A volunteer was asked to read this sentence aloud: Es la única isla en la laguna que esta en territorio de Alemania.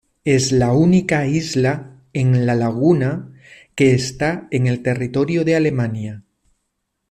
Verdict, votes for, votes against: rejected, 1, 2